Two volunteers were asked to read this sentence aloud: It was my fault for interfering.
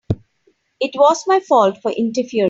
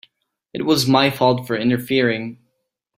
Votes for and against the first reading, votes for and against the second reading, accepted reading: 0, 3, 3, 0, second